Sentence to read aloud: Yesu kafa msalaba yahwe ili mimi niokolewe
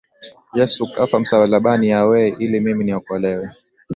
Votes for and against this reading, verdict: 2, 0, accepted